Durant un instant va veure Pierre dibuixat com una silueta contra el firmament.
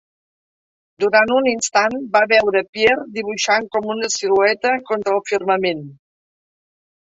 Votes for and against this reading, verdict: 1, 2, rejected